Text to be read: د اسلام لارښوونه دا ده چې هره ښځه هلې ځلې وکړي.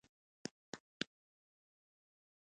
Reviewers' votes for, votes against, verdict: 0, 2, rejected